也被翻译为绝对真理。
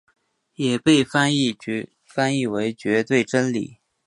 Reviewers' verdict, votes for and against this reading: rejected, 2, 3